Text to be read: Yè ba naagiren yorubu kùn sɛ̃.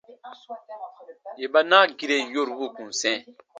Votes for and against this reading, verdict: 2, 0, accepted